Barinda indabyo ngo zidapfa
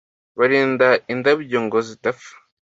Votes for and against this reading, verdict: 2, 0, accepted